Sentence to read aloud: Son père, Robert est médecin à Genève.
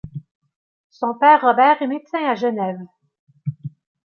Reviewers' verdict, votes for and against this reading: rejected, 1, 2